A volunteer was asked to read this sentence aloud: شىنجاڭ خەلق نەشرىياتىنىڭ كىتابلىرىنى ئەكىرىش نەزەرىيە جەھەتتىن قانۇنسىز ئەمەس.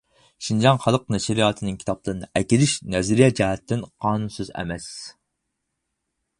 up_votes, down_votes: 4, 2